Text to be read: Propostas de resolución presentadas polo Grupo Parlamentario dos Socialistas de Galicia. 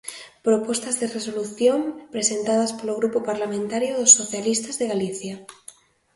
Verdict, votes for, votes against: accepted, 2, 0